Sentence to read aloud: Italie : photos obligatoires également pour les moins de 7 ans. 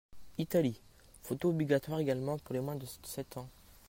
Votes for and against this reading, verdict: 0, 2, rejected